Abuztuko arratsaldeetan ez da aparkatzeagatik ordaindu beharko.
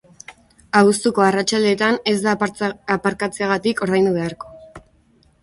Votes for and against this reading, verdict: 0, 2, rejected